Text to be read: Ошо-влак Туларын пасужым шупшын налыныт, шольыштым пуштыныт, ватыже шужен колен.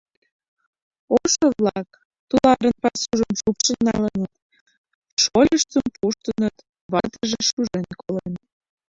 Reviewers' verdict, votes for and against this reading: rejected, 2, 3